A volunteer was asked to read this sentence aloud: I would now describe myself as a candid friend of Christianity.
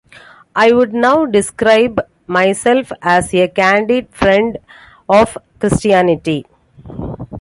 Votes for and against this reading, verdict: 2, 0, accepted